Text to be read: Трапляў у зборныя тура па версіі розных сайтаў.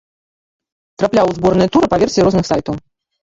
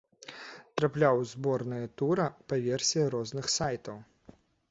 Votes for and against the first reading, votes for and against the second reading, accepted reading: 1, 3, 2, 0, second